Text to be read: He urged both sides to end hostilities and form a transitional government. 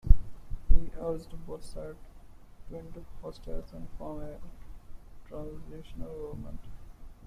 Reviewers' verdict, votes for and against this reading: rejected, 0, 2